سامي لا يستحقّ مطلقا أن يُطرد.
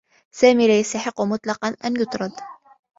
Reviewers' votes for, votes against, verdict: 2, 0, accepted